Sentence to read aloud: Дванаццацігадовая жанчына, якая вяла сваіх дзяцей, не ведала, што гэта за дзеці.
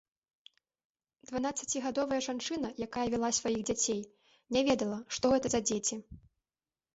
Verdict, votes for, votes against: accepted, 2, 1